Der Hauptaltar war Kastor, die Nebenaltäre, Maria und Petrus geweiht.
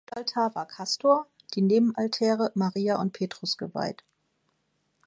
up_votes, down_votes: 1, 2